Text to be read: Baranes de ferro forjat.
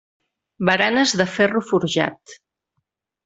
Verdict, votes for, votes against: accepted, 3, 0